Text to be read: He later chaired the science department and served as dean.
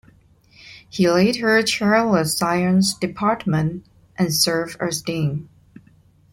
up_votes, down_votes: 1, 2